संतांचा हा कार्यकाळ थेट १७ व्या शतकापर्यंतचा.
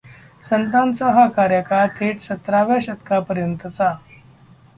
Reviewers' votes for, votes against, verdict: 0, 2, rejected